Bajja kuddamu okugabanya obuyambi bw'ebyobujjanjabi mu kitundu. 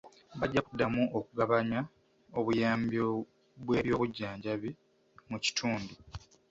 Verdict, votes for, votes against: rejected, 0, 2